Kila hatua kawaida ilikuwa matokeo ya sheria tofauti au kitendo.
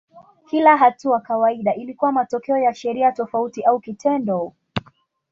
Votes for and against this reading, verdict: 2, 0, accepted